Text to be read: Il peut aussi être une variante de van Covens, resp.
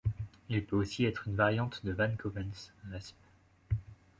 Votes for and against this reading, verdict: 2, 0, accepted